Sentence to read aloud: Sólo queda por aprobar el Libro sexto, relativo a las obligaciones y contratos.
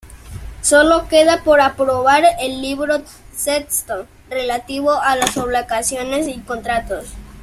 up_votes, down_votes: 0, 2